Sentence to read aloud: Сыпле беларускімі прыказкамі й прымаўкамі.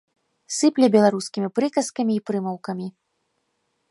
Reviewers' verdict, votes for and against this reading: accepted, 3, 0